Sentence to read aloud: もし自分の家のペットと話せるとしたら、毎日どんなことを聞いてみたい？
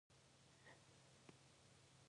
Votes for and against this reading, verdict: 0, 2, rejected